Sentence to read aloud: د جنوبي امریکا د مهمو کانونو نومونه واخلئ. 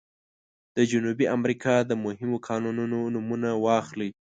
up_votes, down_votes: 2, 1